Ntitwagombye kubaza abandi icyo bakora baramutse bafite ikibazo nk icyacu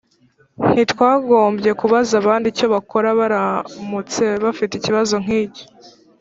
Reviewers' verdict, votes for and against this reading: rejected, 1, 3